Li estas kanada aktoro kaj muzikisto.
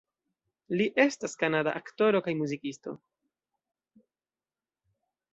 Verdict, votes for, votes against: rejected, 1, 2